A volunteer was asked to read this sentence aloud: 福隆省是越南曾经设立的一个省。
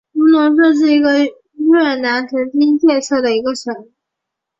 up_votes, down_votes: 0, 2